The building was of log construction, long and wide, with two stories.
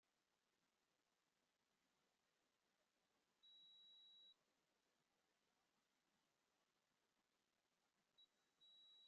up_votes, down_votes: 0, 2